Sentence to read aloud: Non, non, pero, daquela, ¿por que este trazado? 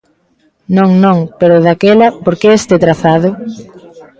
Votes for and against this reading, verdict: 1, 2, rejected